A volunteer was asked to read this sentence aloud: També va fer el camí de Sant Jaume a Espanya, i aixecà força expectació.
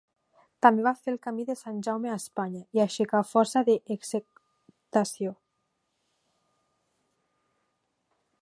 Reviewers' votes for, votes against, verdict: 1, 2, rejected